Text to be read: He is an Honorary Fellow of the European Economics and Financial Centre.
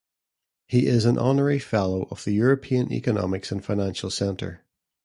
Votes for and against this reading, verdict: 3, 0, accepted